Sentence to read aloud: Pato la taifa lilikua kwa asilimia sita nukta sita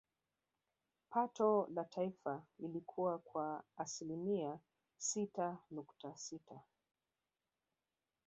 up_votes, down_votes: 2, 3